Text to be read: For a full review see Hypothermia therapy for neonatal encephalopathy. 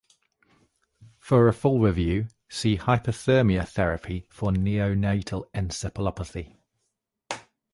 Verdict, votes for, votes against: accepted, 2, 0